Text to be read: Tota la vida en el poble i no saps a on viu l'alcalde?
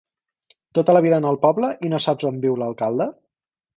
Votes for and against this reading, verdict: 4, 0, accepted